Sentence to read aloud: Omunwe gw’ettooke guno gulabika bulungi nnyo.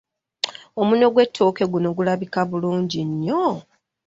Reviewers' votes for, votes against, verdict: 1, 2, rejected